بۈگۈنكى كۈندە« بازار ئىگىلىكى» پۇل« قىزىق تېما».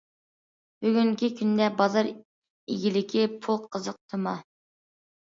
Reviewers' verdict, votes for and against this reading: rejected, 1, 2